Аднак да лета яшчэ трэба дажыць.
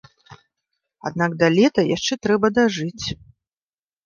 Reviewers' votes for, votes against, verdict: 2, 0, accepted